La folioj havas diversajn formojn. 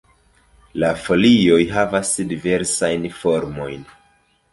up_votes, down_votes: 2, 0